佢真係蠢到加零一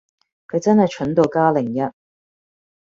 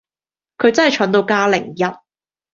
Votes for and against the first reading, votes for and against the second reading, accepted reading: 1, 2, 2, 0, second